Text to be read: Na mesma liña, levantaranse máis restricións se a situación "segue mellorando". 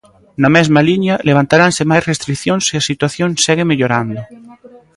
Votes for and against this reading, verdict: 0, 2, rejected